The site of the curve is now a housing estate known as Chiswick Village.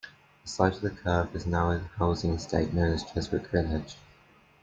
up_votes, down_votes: 2, 1